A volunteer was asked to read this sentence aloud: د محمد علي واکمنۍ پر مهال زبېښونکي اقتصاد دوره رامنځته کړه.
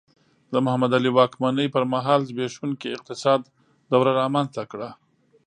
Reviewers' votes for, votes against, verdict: 2, 0, accepted